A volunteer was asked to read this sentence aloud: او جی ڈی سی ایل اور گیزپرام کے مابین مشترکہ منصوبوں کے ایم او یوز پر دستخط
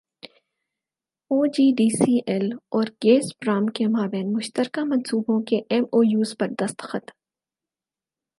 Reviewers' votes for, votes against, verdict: 8, 0, accepted